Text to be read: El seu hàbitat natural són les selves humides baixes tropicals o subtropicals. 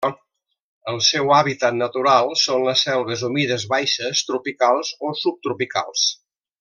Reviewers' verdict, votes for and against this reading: rejected, 1, 2